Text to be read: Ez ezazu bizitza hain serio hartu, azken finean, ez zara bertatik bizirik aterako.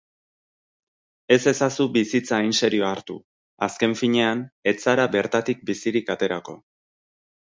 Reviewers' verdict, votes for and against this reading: rejected, 2, 2